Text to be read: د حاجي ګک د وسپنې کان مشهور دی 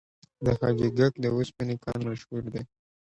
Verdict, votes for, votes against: accepted, 2, 0